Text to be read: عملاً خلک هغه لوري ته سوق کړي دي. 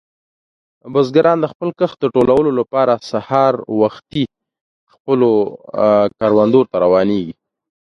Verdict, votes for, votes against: rejected, 0, 2